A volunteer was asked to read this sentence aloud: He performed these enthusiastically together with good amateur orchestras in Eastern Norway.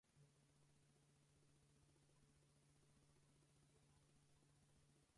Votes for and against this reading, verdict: 0, 2, rejected